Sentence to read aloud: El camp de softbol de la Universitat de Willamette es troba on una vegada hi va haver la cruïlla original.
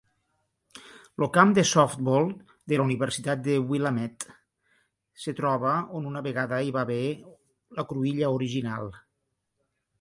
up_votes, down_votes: 1, 2